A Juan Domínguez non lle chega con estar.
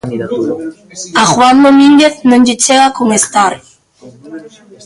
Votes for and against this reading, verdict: 2, 1, accepted